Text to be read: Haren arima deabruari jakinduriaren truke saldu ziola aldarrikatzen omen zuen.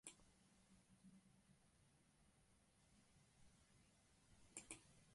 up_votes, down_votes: 0, 2